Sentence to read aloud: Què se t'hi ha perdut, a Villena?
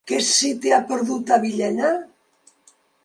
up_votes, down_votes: 2, 0